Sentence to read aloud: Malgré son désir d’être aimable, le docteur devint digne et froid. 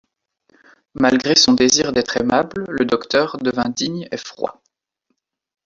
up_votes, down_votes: 1, 2